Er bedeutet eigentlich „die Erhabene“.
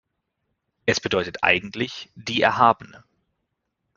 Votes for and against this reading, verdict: 1, 2, rejected